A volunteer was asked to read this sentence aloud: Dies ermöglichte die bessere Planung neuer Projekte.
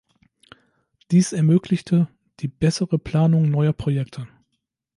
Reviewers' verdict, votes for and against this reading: accepted, 2, 0